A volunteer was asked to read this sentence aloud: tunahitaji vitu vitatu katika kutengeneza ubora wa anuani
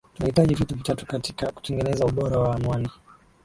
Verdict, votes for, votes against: rejected, 1, 2